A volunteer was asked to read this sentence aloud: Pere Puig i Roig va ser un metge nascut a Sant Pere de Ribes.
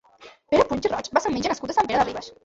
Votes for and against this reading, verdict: 0, 2, rejected